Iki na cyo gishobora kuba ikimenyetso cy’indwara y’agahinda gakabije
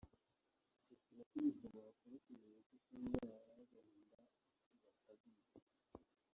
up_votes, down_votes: 0, 2